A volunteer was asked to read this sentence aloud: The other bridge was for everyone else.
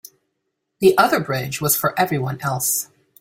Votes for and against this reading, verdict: 2, 0, accepted